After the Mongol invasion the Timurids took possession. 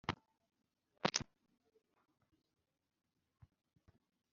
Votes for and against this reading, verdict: 0, 2, rejected